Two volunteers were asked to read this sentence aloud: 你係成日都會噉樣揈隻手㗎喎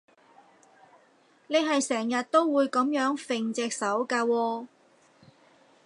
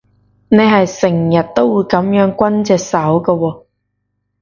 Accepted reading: first